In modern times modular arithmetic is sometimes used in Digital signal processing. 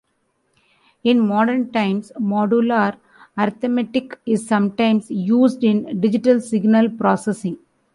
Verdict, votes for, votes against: rejected, 2, 3